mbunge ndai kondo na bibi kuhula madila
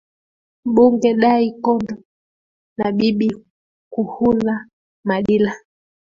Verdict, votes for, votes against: rejected, 0, 2